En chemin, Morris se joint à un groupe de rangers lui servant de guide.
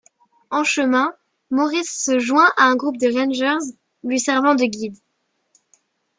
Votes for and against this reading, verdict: 2, 0, accepted